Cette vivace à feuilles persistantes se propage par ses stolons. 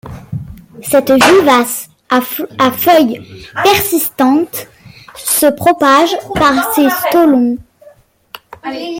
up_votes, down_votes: 1, 3